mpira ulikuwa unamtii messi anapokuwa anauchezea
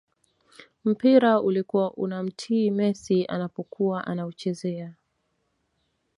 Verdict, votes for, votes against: accepted, 2, 0